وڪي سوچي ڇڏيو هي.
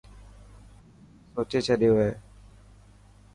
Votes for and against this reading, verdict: 2, 0, accepted